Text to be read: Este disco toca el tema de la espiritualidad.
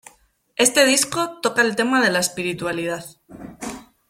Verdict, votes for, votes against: accepted, 2, 0